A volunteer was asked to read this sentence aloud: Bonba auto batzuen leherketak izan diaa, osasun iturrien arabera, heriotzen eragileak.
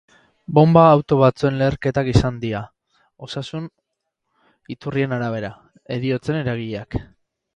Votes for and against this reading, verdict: 2, 2, rejected